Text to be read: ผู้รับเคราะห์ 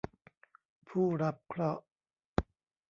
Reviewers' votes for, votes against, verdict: 1, 2, rejected